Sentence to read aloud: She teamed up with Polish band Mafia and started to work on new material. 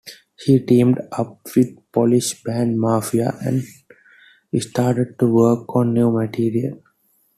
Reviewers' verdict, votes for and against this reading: accepted, 2, 0